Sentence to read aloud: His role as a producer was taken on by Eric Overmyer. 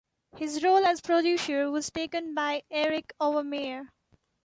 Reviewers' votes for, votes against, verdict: 1, 2, rejected